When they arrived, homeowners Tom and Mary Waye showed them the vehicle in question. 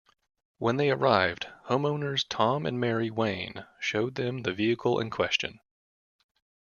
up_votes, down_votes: 1, 2